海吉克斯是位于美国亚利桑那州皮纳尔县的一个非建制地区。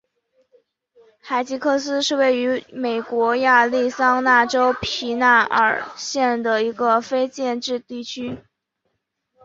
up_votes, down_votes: 5, 0